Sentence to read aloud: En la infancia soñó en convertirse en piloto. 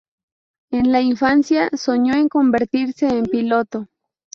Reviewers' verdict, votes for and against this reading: accepted, 4, 0